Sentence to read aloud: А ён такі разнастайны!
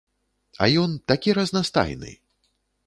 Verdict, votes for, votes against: accepted, 2, 0